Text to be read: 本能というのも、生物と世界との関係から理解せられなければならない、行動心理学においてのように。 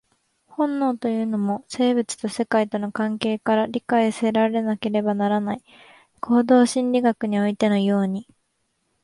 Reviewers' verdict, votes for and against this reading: accepted, 2, 0